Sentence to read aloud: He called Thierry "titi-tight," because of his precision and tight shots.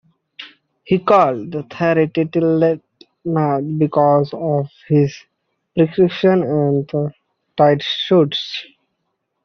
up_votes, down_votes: 0, 2